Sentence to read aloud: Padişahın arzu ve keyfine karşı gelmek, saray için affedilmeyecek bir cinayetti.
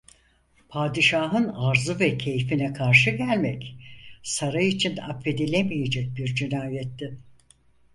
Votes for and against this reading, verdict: 0, 4, rejected